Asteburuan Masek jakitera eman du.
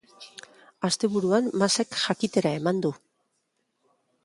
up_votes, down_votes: 2, 0